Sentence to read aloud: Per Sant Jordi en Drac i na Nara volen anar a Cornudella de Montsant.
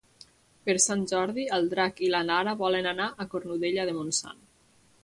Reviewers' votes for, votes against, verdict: 2, 0, accepted